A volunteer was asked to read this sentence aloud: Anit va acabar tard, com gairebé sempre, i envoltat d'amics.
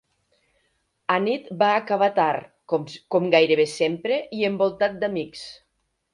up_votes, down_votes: 1, 2